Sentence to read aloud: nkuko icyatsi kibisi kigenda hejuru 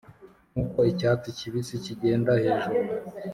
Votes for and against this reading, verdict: 3, 0, accepted